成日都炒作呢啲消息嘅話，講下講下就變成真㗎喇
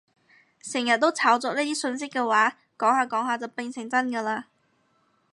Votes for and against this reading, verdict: 2, 4, rejected